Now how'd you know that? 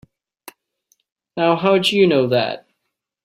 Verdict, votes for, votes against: accepted, 2, 0